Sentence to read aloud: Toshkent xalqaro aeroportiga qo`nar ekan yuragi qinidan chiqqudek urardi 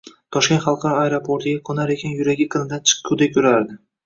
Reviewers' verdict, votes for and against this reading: accepted, 2, 1